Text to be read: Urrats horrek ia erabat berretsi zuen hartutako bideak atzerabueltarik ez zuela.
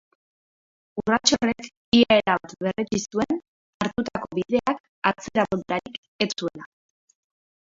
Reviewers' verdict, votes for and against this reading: rejected, 0, 2